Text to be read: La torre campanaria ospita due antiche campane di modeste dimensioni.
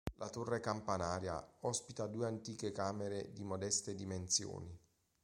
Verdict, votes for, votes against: rejected, 0, 2